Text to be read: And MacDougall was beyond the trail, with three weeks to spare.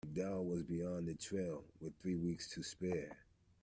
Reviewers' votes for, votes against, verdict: 2, 0, accepted